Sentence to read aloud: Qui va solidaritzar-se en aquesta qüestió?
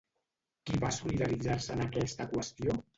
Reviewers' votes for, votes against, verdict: 0, 2, rejected